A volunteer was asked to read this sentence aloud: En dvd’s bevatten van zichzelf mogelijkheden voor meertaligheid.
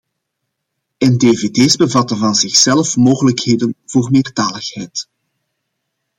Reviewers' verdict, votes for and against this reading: accepted, 2, 0